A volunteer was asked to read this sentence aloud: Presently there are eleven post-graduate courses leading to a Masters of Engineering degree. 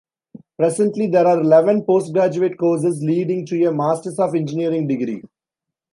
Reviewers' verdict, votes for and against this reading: accepted, 2, 0